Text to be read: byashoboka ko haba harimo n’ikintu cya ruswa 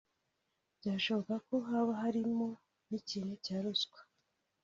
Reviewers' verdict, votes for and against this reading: accepted, 2, 0